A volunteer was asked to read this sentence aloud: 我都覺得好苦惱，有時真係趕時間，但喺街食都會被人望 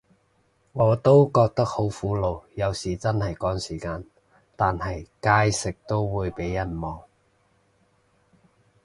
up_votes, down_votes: 0, 2